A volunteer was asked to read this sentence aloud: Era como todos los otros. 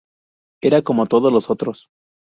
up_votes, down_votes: 0, 2